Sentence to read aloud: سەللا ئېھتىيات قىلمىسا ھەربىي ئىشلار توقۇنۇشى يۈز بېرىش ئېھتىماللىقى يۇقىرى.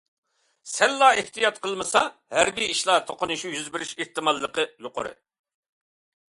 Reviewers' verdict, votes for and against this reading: accepted, 2, 0